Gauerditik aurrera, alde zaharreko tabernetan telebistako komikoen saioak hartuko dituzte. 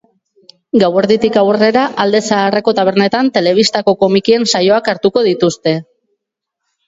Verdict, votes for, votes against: rejected, 0, 2